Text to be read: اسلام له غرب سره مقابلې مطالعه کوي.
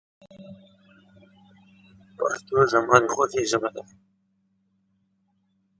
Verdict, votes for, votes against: rejected, 0, 2